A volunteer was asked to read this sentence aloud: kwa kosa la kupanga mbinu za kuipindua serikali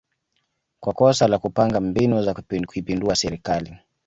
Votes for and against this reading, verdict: 1, 2, rejected